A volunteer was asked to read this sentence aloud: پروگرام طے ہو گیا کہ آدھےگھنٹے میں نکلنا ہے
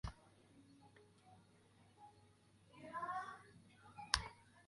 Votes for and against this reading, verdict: 1, 2, rejected